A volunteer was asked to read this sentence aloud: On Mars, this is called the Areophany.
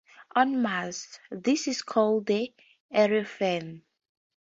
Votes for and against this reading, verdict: 4, 0, accepted